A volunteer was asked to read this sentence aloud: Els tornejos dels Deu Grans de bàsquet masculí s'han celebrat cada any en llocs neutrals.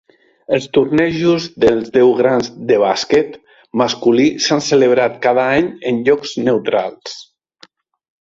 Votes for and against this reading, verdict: 4, 0, accepted